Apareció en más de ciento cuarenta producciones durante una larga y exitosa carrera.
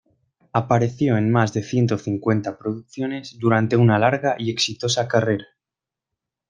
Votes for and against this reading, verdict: 1, 2, rejected